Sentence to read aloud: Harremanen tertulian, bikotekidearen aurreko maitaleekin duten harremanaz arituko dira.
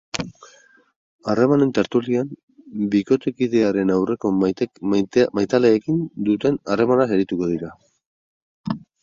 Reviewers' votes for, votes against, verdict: 0, 6, rejected